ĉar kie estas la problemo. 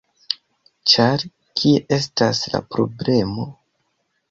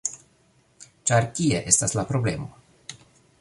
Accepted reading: second